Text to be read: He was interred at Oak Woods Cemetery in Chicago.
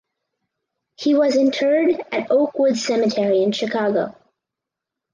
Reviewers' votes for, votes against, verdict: 6, 0, accepted